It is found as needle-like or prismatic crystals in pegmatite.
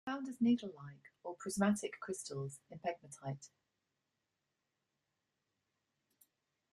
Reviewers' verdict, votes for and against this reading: rejected, 0, 2